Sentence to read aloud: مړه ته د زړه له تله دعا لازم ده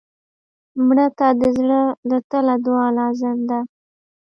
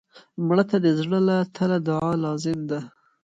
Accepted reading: first